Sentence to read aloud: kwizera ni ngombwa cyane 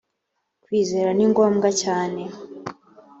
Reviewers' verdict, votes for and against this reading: accepted, 2, 0